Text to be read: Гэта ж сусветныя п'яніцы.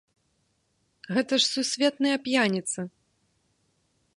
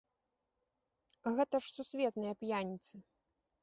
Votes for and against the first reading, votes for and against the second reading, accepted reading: 1, 2, 2, 0, second